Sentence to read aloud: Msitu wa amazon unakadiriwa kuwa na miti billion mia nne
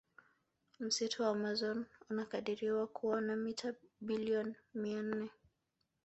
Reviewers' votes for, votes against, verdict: 0, 2, rejected